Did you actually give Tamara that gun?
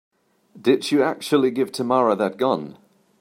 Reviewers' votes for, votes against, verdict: 3, 0, accepted